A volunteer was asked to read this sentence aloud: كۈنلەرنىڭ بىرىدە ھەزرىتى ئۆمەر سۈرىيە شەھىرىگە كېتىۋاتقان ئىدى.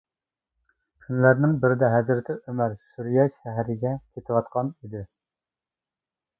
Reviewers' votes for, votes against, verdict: 1, 2, rejected